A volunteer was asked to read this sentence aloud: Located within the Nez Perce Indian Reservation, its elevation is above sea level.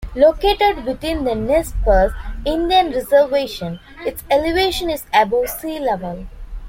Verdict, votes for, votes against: accepted, 2, 0